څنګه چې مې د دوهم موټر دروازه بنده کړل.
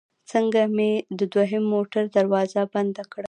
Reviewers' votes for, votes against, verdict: 1, 2, rejected